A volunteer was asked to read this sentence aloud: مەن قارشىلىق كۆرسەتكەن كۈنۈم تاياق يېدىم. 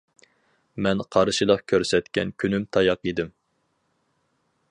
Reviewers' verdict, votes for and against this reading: accepted, 4, 0